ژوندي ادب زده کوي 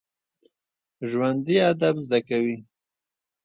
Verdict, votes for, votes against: accepted, 2, 0